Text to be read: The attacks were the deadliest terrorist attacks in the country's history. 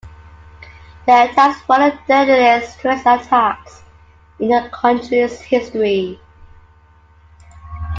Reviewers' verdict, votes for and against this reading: rejected, 0, 2